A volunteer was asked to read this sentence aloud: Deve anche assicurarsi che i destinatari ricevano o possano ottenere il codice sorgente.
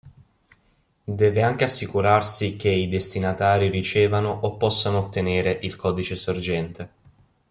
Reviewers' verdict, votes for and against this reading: accepted, 3, 0